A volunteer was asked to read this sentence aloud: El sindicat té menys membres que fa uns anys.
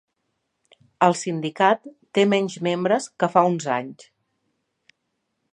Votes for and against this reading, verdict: 3, 0, accepted